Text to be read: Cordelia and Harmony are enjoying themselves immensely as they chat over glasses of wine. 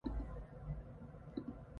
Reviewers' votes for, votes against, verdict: 0, 2, rejected